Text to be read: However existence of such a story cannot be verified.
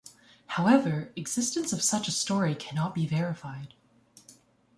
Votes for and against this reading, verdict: 2, 0, accepted